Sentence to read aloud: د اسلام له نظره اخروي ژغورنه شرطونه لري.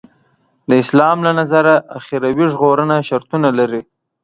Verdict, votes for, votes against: accepted, 2, 0